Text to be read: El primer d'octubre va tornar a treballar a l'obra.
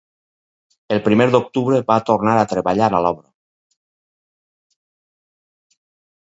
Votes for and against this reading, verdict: 2, 4, rejected